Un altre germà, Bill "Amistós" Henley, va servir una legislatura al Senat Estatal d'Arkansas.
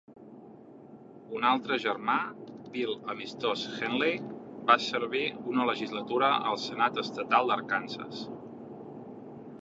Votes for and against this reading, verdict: 2, 0, accepted